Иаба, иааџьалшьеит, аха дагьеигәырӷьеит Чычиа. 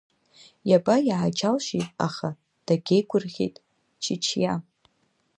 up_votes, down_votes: 2, 0